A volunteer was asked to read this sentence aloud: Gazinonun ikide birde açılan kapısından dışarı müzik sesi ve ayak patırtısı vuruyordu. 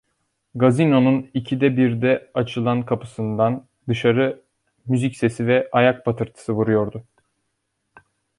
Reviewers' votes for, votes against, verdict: 1, 2, rejected